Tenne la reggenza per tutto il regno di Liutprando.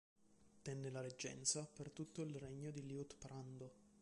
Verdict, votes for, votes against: accepted, 2, 0